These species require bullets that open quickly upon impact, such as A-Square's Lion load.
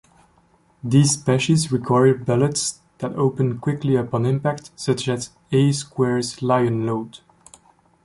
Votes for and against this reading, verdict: 2, 1, accepted